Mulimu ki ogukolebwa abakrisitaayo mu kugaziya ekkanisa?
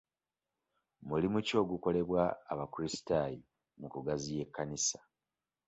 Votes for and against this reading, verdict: 2, 0, accepted